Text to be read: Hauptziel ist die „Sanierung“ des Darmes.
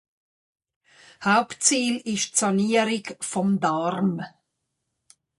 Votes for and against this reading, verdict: 0, 2, rejected